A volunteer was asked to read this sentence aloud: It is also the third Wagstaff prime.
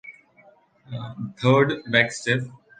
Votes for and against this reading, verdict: 1, 2, rejected